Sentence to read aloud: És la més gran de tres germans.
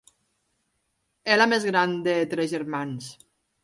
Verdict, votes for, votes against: accepted, 3, 1